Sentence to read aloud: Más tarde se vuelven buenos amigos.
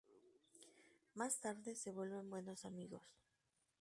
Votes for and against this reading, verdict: 0, 2, rejected